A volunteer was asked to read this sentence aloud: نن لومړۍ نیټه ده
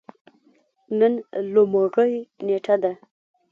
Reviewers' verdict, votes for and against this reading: rejected, 0, 3